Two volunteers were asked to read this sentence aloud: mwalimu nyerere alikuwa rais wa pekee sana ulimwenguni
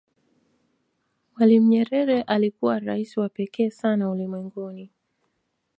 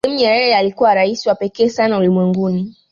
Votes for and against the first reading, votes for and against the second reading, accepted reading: 2, 0, 0, 2, first